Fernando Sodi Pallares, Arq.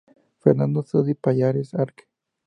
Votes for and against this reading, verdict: 0, 2, rejected